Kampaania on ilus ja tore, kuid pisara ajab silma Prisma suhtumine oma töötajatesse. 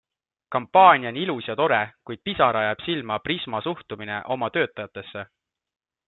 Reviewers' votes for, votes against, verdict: 2, 0, accepted